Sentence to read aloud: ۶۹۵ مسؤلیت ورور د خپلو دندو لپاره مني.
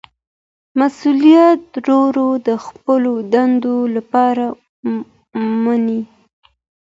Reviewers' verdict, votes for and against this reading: rejected, 0, 2